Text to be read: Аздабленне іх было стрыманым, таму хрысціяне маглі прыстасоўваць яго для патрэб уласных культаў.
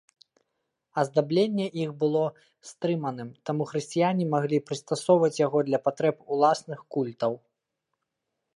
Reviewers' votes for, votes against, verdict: 0, 2, rejected